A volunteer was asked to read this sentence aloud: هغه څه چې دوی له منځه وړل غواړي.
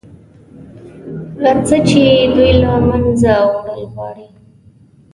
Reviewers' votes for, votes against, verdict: 1, 2, rejected